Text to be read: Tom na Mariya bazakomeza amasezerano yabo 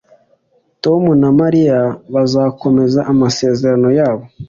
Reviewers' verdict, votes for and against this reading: accepted, 2, 0